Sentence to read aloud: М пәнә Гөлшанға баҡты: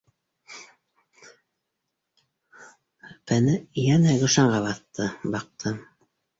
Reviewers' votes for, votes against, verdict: 0, 2, rejected